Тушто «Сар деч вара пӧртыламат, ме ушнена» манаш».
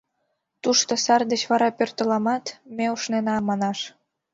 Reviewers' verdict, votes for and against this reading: accepted, 2, 0